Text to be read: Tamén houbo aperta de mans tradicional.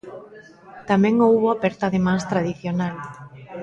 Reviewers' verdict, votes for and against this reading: rejected, 0, 2